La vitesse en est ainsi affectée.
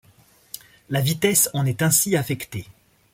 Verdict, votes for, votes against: accepted, 2, 0